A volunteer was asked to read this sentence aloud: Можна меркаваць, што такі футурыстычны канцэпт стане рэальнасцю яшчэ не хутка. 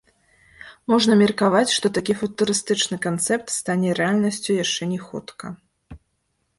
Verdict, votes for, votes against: rejected, 0, 2